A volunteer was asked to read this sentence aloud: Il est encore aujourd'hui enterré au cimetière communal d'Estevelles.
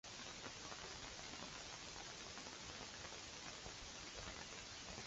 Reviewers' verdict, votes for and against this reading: rejected, 0, 2